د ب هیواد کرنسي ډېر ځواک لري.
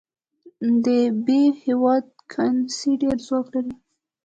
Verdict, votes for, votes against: accepted, 2, 0